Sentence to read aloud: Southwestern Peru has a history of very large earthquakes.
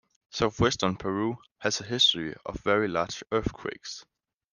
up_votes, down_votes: 2, 0